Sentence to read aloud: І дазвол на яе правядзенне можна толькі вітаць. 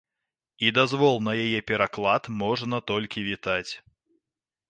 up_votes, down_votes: 0, 2